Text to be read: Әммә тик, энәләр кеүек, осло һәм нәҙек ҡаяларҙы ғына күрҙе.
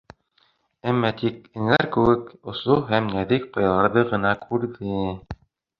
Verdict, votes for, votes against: accepted, 2, 0